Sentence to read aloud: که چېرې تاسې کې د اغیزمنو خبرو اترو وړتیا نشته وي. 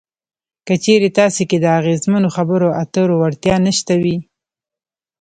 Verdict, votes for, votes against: rejected, 1, 2